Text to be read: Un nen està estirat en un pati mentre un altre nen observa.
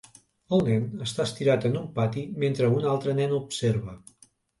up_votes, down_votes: 0, 2